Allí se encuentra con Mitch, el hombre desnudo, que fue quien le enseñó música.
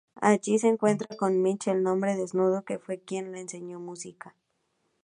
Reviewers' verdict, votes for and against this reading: rejected, 0, 2